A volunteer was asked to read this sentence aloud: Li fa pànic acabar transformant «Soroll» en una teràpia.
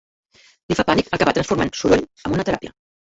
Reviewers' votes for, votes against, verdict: 0, 2, rejected